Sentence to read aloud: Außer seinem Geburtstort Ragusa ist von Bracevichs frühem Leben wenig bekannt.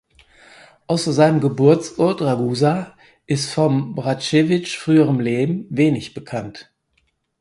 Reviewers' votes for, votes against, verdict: 2, 4, rejected